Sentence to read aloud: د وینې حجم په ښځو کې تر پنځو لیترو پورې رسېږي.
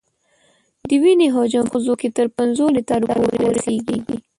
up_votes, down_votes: 1, 2